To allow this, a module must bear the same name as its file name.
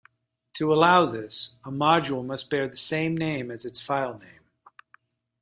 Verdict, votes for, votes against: accepted, 2, 0